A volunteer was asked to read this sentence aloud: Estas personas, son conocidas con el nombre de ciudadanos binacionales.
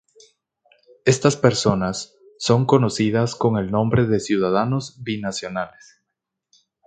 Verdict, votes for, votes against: accepted, 2, 0